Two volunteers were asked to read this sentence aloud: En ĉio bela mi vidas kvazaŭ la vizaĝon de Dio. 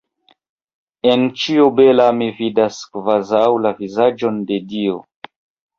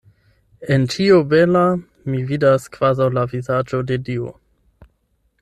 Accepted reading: second